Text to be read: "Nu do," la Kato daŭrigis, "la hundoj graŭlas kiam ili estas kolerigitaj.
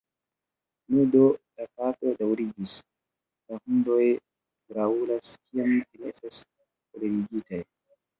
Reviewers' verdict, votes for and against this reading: rejected, 1, 2